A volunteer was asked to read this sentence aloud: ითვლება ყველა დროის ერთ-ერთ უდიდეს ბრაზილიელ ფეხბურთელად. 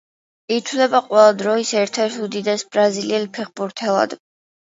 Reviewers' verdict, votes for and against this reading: accepted, 2, 0